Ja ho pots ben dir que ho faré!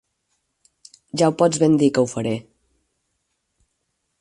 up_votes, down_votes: 6, 0